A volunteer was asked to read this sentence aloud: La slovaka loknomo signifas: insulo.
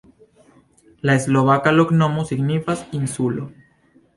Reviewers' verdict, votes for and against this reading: accepted, 2, 0